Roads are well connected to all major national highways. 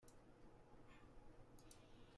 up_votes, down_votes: 0, 2